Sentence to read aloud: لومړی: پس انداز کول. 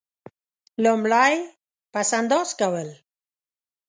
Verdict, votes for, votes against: accepted, 2, 0